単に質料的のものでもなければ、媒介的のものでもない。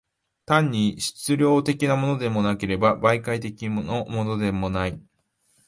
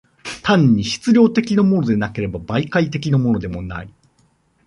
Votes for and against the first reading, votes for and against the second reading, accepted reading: 6, 0, 0, 2, first